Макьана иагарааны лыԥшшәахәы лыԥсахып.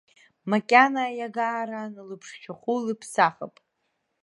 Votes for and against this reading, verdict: 1, 2, rejected